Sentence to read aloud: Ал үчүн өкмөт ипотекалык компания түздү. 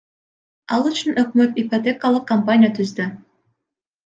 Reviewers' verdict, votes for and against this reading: accepted, 2, 0